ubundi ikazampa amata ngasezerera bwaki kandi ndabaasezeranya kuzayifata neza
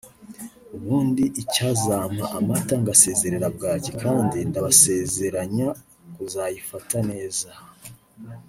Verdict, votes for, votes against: rejected, 0, 2